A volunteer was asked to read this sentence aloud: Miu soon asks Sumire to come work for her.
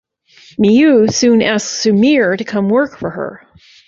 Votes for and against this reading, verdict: 5, 0, accepted